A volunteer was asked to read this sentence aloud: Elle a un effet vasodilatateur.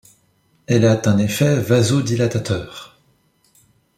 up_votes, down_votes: 1, 2